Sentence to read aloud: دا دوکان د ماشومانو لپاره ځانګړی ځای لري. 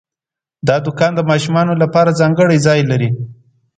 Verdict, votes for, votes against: accepted, 2, 0